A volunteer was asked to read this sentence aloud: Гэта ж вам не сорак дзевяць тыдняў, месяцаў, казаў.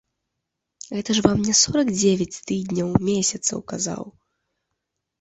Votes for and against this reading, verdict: 3, 0, accepted